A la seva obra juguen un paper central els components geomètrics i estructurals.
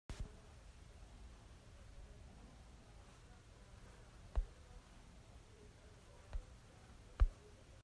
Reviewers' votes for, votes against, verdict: 0, 2, rejected